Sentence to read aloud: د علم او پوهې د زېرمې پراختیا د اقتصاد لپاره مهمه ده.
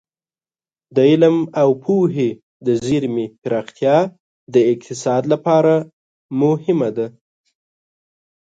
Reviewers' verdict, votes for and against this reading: accepted, 2, 0